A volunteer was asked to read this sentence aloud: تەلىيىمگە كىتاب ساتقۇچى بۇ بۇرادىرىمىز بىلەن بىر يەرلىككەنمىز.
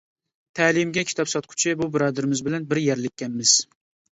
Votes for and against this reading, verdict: 2, 0, accepted